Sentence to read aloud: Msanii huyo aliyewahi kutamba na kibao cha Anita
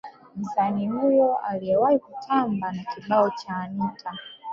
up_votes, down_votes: 1, 2